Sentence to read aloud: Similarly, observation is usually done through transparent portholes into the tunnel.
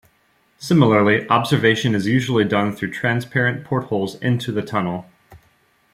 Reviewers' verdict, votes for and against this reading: rejected, 1, 2